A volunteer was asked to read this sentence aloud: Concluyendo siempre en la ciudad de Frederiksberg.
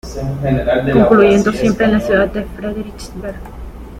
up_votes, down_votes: 2, 1